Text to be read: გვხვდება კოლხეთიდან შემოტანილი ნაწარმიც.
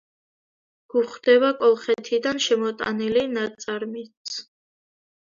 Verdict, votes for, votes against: accepted, 2, 0